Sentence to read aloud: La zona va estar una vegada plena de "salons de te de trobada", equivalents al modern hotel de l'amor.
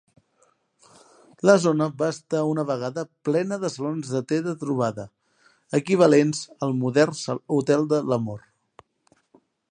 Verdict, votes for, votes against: rejected, 0, 4